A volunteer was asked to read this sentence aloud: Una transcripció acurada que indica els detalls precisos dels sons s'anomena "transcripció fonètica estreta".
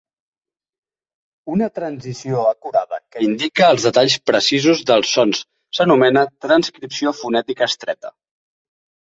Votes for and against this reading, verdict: 1, 2, rejected